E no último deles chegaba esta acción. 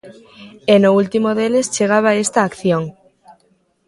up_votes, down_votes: 2, 0